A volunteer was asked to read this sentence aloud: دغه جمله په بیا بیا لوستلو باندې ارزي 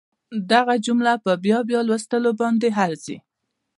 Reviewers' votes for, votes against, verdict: 0, 2, rejected